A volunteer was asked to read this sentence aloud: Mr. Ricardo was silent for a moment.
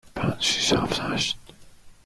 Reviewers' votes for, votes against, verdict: 0, 2, rejected